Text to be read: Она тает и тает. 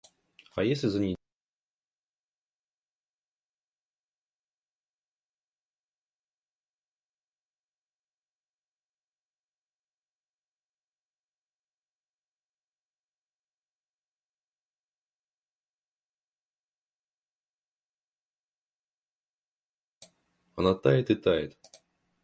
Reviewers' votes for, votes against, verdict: 0, 2, rejected